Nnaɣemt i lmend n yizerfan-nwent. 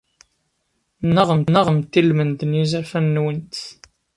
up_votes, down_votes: 0, 2